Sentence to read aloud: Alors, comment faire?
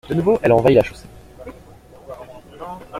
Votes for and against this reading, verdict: 0, 2, rejected